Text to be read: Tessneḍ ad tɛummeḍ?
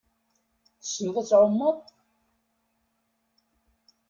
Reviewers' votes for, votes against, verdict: 2, 0, accepted